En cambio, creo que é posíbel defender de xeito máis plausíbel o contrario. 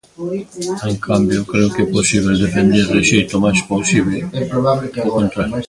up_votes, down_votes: 0, 2